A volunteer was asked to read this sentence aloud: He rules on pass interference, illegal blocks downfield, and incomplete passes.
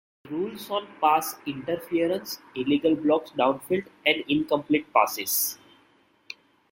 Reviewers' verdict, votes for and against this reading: rejected, 0, 2